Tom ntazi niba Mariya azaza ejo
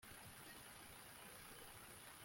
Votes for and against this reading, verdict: 0, 2, rejected